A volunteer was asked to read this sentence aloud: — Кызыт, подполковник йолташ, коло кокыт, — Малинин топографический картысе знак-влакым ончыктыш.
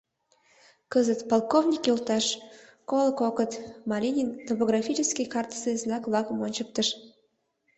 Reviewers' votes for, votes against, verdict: 1, 2, rejected